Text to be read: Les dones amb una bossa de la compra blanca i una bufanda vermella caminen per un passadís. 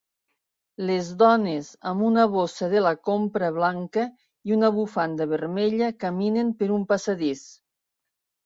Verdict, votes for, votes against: accepted, 4, 0